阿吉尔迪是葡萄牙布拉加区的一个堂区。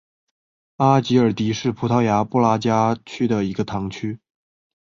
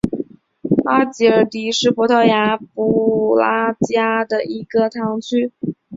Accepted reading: first